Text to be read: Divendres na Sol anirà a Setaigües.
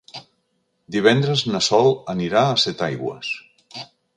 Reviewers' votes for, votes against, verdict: 3, 0, accepted